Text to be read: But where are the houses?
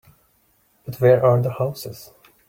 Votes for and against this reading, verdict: 2, 0, accepted